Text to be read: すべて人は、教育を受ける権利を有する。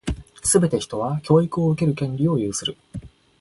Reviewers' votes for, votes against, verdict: 2, 0, accepted